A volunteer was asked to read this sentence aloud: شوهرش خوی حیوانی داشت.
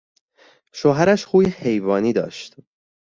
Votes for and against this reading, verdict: 2, 0, accepted